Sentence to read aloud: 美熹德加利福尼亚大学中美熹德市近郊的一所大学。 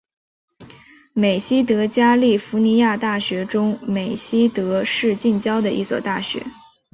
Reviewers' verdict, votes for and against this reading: rejected, 2, 2